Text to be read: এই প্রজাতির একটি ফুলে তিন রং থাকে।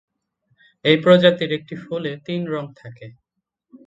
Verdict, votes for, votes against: accepted, 7, 4